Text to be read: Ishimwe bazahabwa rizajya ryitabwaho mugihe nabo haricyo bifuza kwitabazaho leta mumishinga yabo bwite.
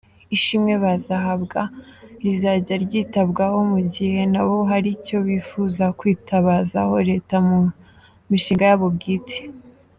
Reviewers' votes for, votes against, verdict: 2, 3, rejected